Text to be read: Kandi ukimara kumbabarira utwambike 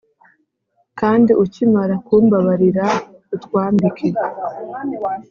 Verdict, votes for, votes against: accepted, 2, 0